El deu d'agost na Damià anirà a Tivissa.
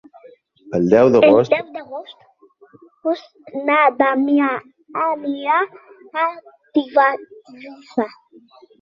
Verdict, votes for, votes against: rejected, 1, 2